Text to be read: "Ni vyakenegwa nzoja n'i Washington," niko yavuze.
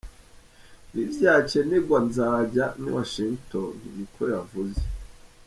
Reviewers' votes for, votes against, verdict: 1, 3, rejected